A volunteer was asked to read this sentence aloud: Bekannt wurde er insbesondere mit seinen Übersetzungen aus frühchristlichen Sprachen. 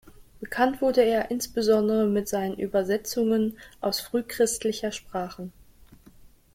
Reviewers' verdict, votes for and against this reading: rejected, 1, 2